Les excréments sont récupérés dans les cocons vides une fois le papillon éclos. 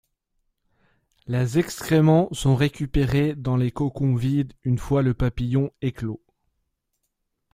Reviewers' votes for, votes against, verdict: 2, 0, accepted